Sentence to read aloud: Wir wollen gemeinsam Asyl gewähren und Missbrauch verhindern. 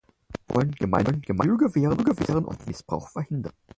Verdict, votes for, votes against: rejected, 0, 4